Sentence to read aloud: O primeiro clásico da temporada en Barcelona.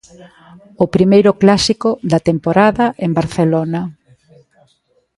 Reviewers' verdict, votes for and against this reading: rejected, 1, 2